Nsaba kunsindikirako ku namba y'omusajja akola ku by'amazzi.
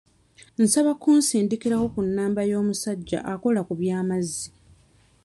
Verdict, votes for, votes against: accepted, 2, 0